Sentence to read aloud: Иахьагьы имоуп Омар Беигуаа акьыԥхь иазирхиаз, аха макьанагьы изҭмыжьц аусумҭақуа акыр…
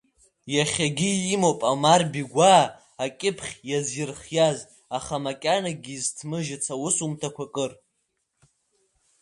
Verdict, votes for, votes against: rejected, 0, 2